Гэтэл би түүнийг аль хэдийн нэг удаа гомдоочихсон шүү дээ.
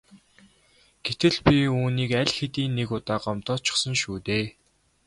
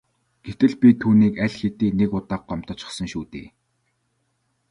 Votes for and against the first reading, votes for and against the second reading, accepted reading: 0, 2, 2, 0, second